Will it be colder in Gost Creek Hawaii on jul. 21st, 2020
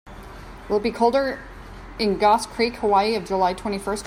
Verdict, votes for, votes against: rejected, 0, 2